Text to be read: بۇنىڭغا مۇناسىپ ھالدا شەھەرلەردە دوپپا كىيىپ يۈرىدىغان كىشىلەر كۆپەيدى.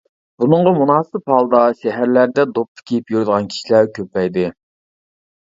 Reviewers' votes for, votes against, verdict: 2, 0, accepted